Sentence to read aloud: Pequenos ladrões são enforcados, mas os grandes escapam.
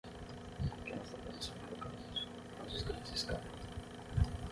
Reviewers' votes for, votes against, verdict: 0, 3, rejected